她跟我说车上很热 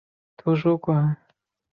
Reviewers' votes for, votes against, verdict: 1, 6, rejected